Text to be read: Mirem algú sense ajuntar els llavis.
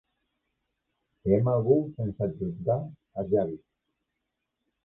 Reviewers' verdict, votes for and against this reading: rejected, 0, 2